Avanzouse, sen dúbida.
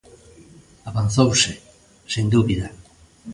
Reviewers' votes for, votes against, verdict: 2, 0, accepted